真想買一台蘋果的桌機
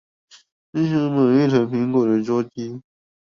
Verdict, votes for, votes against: rejected, 0, 2